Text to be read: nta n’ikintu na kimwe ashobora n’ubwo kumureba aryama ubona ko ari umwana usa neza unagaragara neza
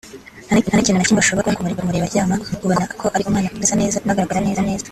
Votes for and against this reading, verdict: 0, 2, rejected